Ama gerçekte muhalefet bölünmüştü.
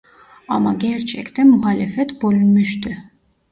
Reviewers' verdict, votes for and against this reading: rejected, 1, 2